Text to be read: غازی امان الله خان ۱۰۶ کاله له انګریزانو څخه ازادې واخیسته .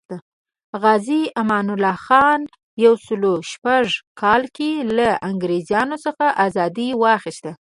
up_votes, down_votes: 0, 2